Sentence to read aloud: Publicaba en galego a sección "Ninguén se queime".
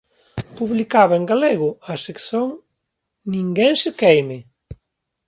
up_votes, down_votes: 1, 4